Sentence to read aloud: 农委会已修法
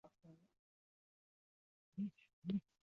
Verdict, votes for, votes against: rejected, 0, 2